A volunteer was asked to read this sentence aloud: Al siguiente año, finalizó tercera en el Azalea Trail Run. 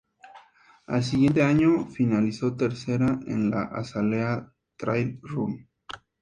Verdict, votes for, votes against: accepted, 2, 0